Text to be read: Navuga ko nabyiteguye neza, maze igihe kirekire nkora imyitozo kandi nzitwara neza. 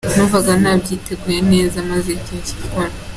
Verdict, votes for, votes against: rejected, 0, 2